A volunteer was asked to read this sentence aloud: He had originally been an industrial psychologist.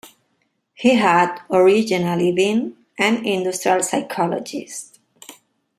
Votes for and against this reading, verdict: 2, 0, accepted